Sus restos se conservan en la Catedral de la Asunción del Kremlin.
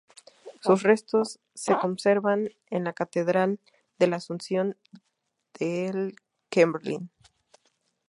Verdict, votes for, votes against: rejected, 0, 2